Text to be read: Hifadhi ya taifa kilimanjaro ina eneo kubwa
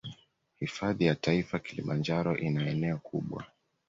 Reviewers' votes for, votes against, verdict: 2, 0, accepted